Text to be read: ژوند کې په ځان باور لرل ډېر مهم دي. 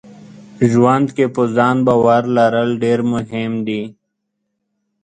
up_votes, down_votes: 0, 2